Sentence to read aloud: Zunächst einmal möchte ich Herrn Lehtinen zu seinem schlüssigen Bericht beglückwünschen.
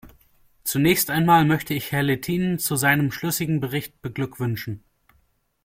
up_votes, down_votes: 1, 2